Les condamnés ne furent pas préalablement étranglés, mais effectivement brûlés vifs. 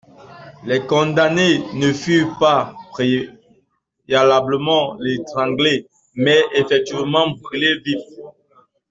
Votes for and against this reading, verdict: 1, 2, rejected